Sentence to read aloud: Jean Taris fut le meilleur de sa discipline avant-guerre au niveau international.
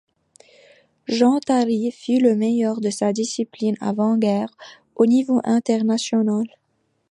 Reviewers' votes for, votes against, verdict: 2, 0, accepted